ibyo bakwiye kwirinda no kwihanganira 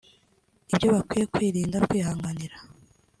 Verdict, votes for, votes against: accepted, 2, 1